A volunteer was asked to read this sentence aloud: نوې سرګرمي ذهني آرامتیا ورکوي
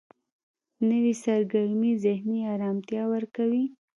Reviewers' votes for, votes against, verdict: 0, 2, rejected